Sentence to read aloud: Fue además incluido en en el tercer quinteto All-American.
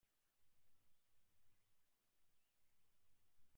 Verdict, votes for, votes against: rejected, 0, 2